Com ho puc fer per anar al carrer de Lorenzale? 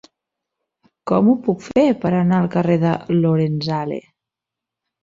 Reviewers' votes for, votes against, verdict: 3, 0, accepted